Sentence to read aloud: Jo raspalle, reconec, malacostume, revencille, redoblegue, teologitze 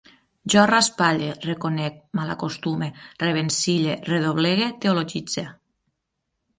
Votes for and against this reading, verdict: 9, 0, accepted